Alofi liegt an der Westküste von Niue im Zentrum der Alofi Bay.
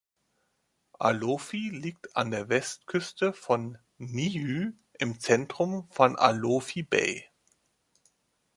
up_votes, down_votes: 1, 2